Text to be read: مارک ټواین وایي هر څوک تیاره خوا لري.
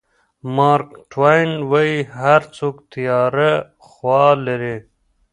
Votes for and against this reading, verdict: 2, 1, accepted